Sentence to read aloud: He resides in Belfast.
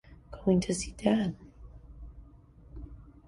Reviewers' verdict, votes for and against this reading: rejected, 0, 2